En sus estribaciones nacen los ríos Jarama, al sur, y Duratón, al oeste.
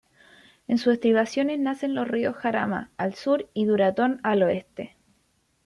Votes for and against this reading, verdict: 2, 0, accepted